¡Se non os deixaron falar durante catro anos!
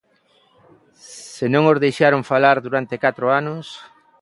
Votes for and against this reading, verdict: 3, 0, accepted